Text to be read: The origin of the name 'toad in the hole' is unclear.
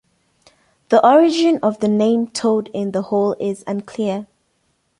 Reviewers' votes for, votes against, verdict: 2, 0, accepted